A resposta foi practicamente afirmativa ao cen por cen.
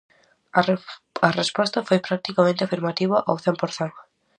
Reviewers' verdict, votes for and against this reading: rejected, 0, 4